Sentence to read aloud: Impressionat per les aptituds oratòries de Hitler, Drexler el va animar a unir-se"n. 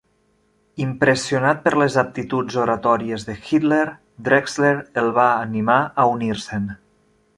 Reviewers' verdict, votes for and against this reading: rejected, 0, 2